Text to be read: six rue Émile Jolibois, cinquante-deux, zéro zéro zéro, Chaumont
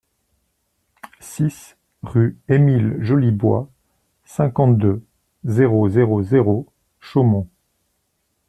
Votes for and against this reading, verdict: 2, 0, accepted